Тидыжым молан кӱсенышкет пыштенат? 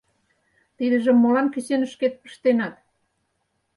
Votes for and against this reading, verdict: 4, 0, accepted